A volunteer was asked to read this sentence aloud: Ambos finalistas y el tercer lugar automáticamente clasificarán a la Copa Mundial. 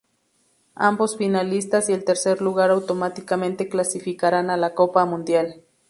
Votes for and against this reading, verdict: 4, 0, accepted